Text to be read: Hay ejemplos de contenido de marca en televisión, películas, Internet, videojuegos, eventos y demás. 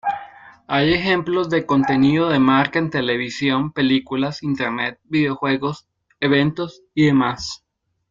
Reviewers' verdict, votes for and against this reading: accepted, 2, 0